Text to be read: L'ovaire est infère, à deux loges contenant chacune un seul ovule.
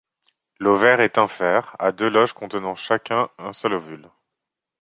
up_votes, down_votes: 0, 2